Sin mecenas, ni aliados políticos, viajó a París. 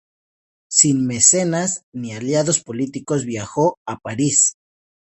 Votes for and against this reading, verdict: 2, 0, accepted